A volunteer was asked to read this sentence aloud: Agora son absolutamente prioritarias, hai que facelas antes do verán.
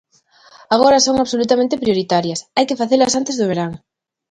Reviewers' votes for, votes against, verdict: 2, 0, accepted